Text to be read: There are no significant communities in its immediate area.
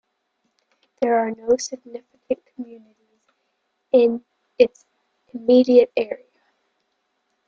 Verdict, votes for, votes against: rejected, 1, 2